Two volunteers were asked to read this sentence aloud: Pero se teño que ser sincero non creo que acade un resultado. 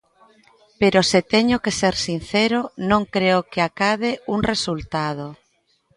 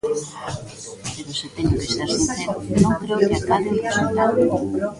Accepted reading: first